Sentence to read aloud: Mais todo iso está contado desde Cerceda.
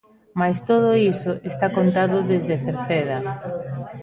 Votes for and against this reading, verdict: 1, 2, rejected